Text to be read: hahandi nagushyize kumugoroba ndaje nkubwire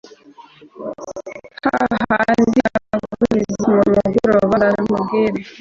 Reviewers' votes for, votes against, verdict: 0, 2, rejected